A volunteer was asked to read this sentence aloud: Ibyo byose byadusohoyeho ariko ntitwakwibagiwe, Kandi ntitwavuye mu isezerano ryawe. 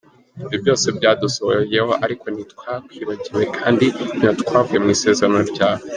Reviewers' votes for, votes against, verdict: 2, 1, accepted